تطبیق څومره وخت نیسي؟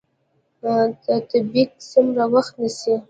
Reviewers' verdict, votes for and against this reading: accepted, 2, 1